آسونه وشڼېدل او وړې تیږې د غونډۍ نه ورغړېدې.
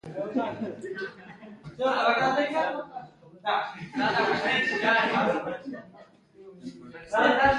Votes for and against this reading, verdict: 1, 2, rejected